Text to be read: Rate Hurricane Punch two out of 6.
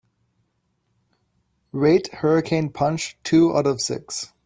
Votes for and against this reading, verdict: 0, 2, rejected